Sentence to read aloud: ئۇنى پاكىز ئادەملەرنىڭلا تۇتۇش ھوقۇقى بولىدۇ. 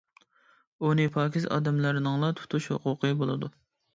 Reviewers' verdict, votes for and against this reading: accepted, 2, 0